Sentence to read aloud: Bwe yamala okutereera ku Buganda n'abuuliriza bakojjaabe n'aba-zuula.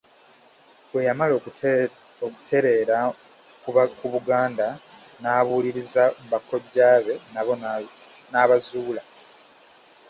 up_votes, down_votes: 0, 2